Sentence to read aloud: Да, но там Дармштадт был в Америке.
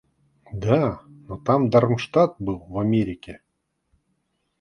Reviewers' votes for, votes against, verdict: 2, 0, accepted